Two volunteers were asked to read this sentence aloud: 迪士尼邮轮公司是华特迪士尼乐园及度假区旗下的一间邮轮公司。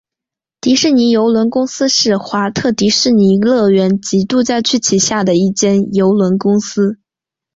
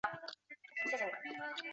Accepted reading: first